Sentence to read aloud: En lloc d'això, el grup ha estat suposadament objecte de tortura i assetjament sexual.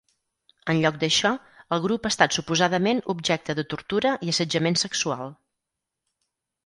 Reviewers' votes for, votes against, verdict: 4, 0, accepted